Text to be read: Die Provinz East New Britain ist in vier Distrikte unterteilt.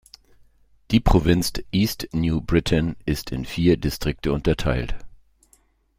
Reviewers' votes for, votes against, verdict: 0, 2, rejected